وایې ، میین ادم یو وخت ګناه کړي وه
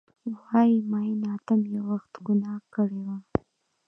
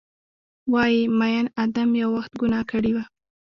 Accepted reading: first